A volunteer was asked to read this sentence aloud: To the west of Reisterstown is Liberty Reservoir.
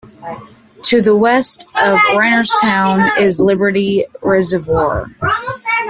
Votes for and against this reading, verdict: 0, 2, rejected